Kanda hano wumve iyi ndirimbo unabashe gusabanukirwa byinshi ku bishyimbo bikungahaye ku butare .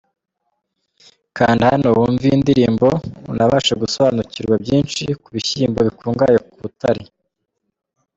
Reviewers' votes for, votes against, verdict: 2, 0, accepted